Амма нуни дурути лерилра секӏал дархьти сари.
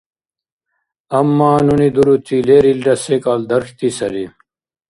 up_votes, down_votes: 2, 0